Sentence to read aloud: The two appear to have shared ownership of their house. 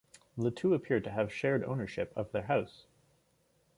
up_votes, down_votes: 2, 0